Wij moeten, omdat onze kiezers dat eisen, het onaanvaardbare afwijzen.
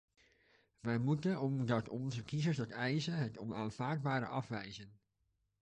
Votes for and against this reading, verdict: 1, 2, rejected